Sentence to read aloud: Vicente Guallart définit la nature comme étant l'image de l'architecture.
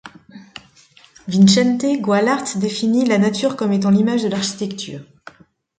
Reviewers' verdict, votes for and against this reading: accepted, 2, 0